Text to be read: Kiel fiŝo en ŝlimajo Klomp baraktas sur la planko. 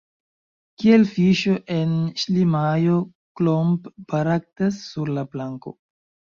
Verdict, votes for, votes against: accepted, 2, 0